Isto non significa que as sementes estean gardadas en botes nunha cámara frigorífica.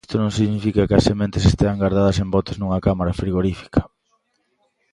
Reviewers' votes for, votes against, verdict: 2, 1, accepted